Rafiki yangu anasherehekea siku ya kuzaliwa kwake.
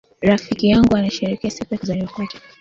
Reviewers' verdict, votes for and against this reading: accepted, 2, 1